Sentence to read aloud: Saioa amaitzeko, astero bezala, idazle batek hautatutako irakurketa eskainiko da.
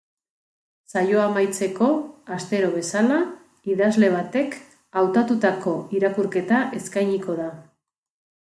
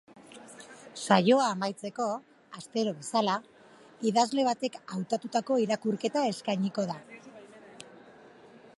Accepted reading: first